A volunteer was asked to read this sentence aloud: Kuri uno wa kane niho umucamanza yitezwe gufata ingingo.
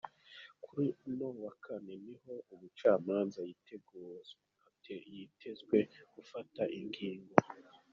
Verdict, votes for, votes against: rejected, 1, 2